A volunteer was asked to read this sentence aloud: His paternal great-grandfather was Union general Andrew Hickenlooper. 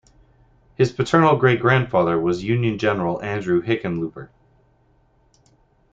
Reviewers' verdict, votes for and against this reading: accepted, 2, 0